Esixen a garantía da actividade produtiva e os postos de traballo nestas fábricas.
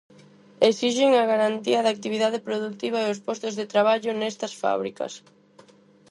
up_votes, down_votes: 4, 0